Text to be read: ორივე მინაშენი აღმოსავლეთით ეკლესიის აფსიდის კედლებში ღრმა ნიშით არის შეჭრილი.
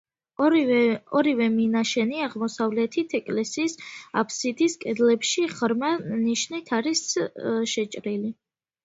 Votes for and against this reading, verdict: 0, 2, rejected